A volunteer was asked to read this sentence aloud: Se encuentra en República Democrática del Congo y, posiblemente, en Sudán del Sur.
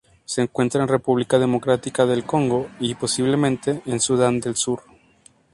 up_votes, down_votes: 0, 2